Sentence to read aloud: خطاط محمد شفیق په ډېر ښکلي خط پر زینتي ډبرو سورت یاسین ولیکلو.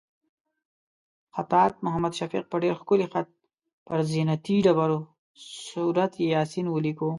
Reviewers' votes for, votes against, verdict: 2, 0, accepted